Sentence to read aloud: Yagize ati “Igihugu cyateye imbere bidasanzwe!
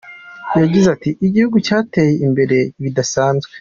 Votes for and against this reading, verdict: 3, 0, accepted